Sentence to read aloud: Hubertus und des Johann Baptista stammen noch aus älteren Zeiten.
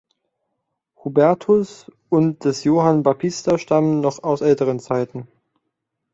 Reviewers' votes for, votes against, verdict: 1, 2, rejected